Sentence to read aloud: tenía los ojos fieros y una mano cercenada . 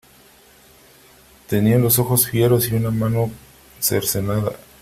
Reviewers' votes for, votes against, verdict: 3, 0, accepted